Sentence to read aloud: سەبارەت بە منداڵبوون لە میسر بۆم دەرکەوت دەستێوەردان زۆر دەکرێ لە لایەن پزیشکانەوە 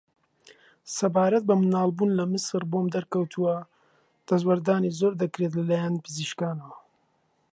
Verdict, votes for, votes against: rejected, 0, 2